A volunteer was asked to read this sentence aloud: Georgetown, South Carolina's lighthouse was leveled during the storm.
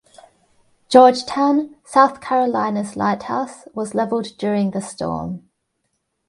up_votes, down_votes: 2, 0